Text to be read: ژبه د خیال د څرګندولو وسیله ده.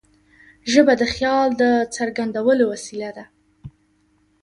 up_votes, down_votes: 2, 0